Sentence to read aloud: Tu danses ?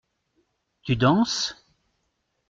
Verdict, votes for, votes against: accepted, 2, 0